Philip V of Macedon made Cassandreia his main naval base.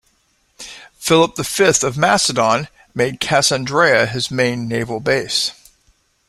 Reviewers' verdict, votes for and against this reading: rejected, 0, 2